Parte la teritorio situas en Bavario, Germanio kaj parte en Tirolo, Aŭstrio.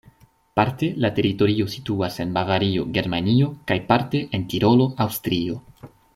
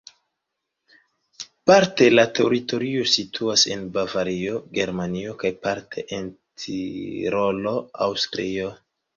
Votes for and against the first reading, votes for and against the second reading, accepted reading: 2, 0, 1, 2, first